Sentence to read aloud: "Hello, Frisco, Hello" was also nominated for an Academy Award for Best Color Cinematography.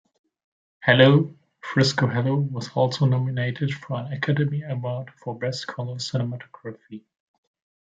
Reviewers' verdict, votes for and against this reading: accepted, 2, 0